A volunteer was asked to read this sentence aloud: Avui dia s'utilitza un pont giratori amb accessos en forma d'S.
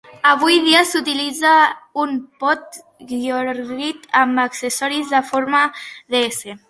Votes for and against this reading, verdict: 1, 2, rejected